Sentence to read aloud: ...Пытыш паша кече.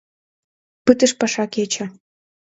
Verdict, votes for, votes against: accepted, 2, 0